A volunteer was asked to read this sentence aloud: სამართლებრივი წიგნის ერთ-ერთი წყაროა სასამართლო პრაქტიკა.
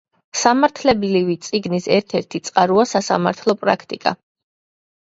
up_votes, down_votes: 1, 2